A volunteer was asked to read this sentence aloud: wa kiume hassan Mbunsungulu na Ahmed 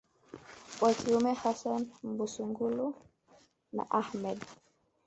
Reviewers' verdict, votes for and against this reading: rejected, 1, 2